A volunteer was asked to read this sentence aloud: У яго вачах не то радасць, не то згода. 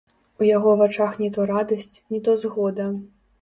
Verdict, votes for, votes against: rejected, 0, 2